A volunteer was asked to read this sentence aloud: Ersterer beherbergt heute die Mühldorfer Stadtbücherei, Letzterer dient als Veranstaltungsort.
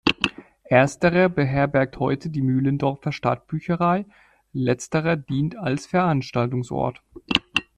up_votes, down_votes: 0, 2